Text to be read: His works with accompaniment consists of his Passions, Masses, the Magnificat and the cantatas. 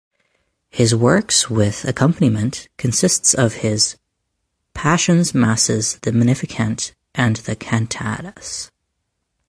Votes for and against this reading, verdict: 2, 1, accepted